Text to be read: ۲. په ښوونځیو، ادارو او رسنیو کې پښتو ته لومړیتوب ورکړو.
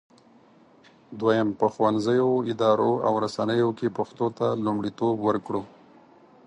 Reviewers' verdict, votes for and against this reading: rejected, 0, 2